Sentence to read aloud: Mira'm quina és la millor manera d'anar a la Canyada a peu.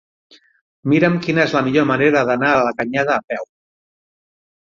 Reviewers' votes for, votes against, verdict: 9, 0, accepted